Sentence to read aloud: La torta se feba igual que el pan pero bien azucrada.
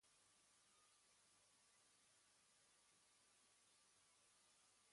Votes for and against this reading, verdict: 1, 2, rejected